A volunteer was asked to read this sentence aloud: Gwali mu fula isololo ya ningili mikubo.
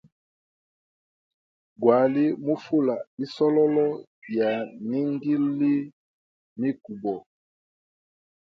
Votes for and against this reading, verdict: 2, 0, accepted